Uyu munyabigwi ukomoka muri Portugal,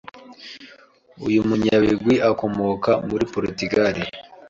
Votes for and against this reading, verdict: 0, 2, rejected